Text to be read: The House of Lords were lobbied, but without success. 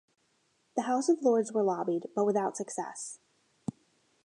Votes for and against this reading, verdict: 2, 0, accepted